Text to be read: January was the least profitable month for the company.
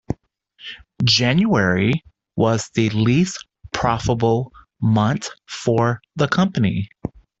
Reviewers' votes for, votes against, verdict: 2, 1, accepted